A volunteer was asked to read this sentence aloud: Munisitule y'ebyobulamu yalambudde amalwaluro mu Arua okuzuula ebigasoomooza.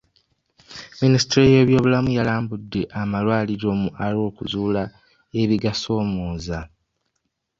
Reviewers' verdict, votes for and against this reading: rejected, 1, 2